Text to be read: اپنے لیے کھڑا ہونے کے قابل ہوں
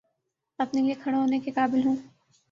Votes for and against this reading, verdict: 2, 0, accepted